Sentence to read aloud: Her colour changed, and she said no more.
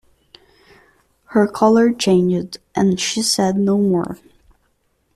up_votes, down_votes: 3, 2